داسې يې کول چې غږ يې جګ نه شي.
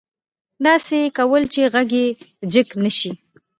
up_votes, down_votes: 1, 2